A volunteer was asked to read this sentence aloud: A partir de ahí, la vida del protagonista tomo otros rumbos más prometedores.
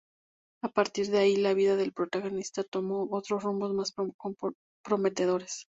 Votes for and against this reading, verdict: 0, 2, rejected